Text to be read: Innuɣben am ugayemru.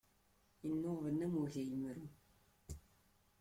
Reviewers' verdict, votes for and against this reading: rejected, 1, 2